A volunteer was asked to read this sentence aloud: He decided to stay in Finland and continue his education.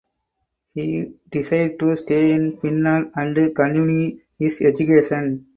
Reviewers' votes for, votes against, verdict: 0, 2, rejected